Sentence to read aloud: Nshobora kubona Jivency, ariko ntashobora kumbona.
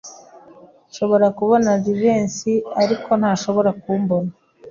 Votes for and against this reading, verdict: 2, 0, accepted